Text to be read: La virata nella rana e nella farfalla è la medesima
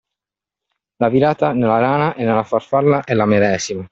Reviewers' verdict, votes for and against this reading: accepted, 2, 0